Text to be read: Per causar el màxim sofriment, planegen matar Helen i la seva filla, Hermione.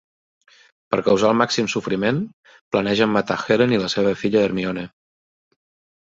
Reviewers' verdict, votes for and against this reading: accepted, 3, 0